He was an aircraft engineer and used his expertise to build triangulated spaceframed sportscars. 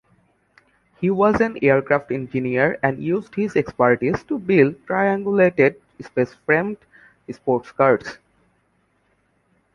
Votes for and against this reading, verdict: 2, 0, accepted